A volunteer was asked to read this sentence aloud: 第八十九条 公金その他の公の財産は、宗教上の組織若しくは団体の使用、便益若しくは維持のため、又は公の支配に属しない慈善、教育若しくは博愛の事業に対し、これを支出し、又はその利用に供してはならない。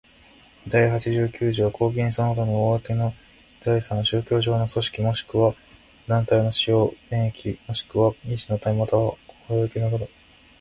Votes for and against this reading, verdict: 0, 2, rejected